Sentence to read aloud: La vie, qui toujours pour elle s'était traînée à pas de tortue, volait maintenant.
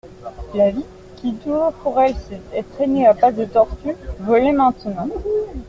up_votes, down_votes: 0, 2